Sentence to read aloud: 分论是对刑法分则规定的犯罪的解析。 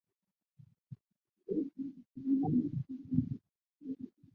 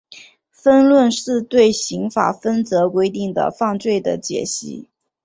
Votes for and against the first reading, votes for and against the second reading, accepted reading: 0, 4, 2, 0, second